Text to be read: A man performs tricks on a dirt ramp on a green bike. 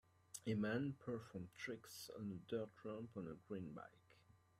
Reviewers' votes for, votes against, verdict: 2, 0, accepted